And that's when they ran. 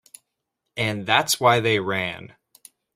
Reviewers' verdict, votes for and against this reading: rejected, 0, 2